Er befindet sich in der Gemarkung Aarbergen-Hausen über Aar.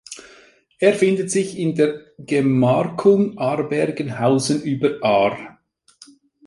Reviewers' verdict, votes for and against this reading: rejected, 0, 3